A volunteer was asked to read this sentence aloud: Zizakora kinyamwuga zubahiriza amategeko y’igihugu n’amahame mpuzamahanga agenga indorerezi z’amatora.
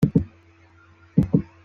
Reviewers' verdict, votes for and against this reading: rejected, 1, 2